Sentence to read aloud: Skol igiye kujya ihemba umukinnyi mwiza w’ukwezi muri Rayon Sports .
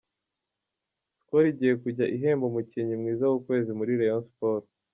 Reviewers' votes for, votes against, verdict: 2, 0, accepted